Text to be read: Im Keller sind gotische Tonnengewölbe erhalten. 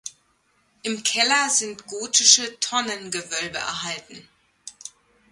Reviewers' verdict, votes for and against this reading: accepted, 2, 0